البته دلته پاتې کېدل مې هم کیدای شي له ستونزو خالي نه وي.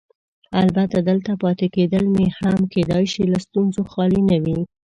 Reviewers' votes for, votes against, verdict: 2, 0, accepted